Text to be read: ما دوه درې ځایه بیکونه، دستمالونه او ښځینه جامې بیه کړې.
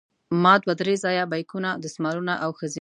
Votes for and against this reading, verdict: 1, 2, rejected